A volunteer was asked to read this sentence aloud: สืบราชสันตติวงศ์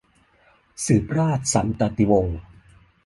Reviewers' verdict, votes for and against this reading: accepted, 2, 1